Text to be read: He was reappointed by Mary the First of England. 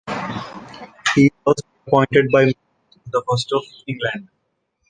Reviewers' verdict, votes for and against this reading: rejected, 0, 2